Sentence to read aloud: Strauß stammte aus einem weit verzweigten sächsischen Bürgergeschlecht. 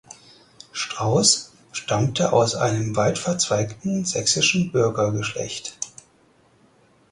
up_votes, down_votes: 4, 0